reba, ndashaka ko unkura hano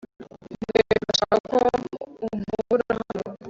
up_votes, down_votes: 0, 2